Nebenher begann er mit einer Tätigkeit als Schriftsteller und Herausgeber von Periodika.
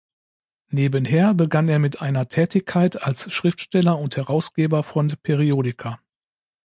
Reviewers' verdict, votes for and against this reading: accepted, 2, 0